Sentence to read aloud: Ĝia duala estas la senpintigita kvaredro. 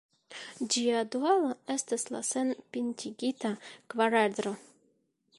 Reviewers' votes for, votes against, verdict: 1, 2, rejected